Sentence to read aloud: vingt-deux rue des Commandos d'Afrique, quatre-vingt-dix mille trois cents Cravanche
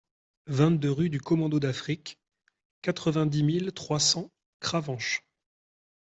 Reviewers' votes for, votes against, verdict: 0, 2, rejected